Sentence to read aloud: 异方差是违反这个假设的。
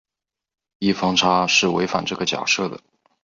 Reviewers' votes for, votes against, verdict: 8, 0, accepted